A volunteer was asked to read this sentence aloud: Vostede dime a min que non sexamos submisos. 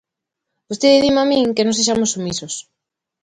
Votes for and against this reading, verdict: 2, 0, accepted